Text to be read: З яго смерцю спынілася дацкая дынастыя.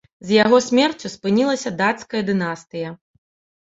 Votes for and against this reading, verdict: 2, 0, accepted